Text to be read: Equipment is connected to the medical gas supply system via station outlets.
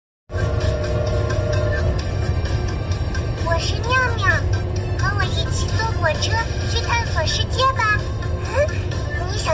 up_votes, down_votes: 0, 2